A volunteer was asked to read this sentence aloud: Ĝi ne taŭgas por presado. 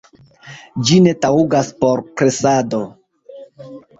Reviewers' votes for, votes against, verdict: 1, 2, rejected